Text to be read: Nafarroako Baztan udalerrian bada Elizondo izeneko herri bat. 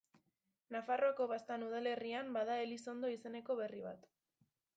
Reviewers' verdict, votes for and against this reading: rejected, 0, 2